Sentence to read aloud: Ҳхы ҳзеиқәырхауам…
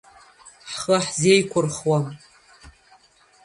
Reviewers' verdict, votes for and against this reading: rejected, 0, 2